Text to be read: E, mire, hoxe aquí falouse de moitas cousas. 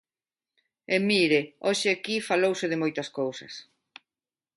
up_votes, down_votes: 2, 0